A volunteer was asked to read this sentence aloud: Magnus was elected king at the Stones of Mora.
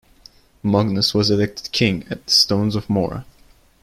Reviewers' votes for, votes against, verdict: 2, 1, accepted